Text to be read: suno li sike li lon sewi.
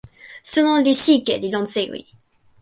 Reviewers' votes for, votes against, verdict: 2, 0, accepted